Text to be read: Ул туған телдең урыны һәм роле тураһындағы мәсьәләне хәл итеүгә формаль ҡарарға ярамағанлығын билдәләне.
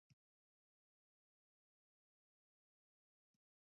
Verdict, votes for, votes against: rejected, 1, 2